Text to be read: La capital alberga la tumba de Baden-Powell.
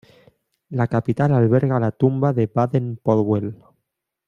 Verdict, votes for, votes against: accepted, 2, 0